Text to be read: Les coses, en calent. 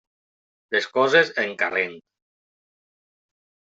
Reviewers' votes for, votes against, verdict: 1, 2, rejected